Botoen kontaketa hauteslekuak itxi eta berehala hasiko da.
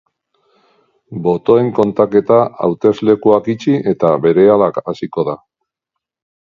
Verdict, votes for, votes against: rejected, 1, 2